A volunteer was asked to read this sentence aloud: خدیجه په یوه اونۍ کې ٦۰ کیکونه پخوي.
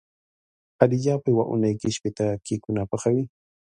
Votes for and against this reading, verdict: 0, 2, rejected